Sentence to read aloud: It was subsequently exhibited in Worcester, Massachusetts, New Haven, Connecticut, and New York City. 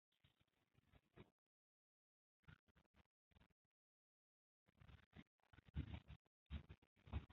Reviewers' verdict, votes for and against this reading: rejected, 1, 2